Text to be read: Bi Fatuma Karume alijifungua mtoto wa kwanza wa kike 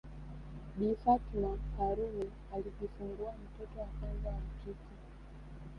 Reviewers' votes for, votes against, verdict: 2, 0, accepted